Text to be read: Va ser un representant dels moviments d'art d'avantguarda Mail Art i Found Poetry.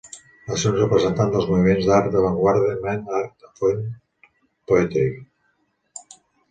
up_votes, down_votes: 0, 2